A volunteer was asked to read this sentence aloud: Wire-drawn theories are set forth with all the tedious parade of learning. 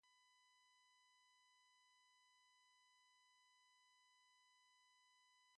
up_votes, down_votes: 0, 2